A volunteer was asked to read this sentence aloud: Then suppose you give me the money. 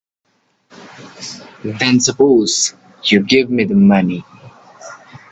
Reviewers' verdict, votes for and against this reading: rejected, 0, 2